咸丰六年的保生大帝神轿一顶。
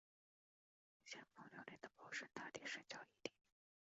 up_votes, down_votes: 0, 2